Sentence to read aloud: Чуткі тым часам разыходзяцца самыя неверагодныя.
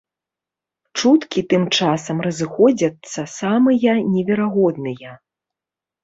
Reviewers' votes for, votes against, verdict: 2, 0, accepted